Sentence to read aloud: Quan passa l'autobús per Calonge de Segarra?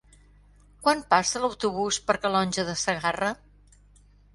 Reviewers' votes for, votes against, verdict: 4, 0, accepted